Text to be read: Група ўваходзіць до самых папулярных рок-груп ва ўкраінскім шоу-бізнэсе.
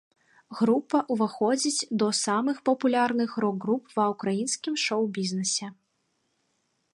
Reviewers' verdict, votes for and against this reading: accepted, 2, 0